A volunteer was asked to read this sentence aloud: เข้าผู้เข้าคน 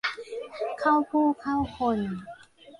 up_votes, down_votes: 1, 2